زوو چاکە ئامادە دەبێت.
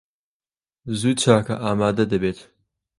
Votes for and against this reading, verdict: 2, 0, accepted